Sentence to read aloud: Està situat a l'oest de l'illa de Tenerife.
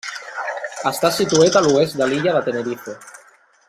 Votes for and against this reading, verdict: 0, 2, rejected